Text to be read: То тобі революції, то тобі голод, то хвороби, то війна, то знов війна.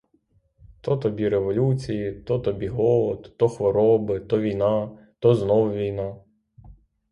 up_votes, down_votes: 6, 0